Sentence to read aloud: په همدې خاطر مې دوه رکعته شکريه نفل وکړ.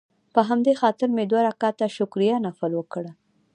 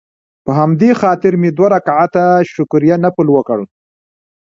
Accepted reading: first